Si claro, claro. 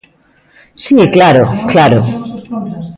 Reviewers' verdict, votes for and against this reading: accepted, 2, 1